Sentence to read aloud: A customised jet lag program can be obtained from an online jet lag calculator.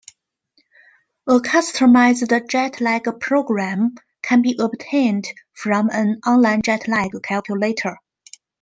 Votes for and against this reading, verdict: 1, 2, rejected